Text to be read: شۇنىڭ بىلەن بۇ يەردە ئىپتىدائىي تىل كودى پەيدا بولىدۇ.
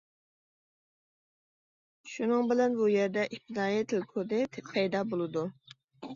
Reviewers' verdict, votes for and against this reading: rejected, 1, 2